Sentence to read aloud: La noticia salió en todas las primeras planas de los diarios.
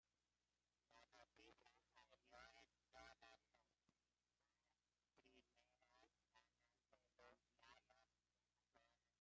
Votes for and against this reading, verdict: 0, 2, rejected